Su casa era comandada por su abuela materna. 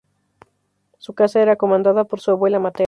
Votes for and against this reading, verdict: 2, 0, accepted